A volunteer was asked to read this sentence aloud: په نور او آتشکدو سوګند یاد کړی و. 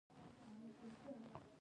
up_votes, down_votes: 2, 3